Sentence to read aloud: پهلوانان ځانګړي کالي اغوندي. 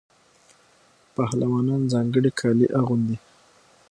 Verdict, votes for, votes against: accepted, 6, 0